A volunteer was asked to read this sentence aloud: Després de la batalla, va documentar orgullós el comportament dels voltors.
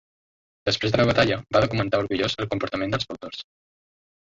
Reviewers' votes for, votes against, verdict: 0, 2, rejected